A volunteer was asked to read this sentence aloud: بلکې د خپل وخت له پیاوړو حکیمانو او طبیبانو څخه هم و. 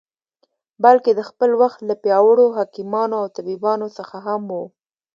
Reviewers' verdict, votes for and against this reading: accepted, 2, 0